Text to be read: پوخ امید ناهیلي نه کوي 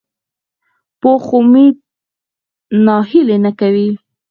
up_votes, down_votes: 0, 4